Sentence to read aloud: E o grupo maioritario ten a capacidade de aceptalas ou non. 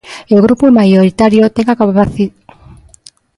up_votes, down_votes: 0, 2